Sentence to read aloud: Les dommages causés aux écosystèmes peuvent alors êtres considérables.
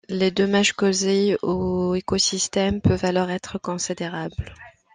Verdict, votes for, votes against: accepted, 2, 0